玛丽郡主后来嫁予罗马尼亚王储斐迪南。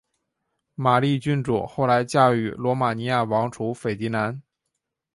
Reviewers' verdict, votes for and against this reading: accepted, 2, 0